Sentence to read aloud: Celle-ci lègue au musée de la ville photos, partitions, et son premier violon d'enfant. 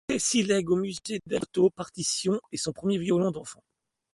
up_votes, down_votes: 0, 2